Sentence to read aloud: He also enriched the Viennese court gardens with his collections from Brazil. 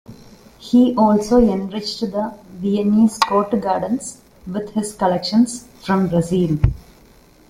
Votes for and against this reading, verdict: 2, 1, accepted